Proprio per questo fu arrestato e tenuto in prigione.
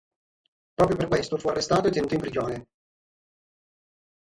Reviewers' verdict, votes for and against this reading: rejected, 3, 6